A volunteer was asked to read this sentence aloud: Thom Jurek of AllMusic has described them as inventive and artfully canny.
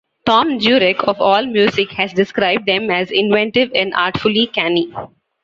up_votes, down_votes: 2, 0